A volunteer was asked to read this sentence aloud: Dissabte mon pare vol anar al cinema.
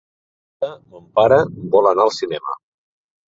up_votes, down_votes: 0, 2